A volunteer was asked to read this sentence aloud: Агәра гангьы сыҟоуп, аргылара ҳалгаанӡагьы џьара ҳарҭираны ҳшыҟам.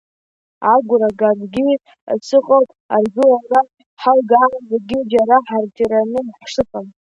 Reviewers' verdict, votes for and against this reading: rejected, 1, 2